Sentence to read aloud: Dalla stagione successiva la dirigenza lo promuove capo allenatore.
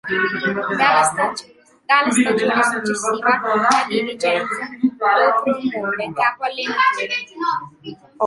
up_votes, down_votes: 0, 2